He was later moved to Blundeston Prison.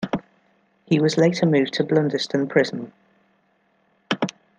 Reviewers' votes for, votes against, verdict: 2, 0, accepted